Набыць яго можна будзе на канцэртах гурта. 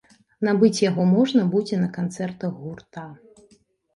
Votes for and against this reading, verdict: 2, 0, accepted